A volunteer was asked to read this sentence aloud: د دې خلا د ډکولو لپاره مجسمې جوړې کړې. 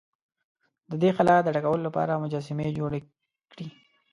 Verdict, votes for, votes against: rejected, 1, 2